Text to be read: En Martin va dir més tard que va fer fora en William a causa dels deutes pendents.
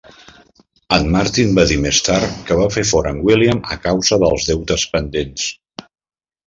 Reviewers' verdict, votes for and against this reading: rejected, 1, 2